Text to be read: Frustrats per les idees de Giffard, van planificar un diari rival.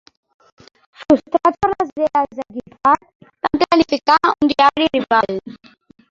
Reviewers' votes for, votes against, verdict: 0, 3, rejected